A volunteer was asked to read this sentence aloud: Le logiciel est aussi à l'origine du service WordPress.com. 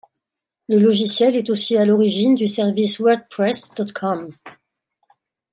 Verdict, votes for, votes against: rejected, 1, 2